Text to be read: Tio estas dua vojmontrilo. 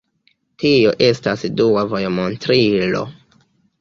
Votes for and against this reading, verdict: 1, 2, rejected